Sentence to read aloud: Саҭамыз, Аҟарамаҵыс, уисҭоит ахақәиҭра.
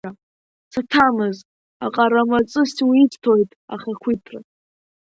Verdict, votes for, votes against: rejected, 0, 2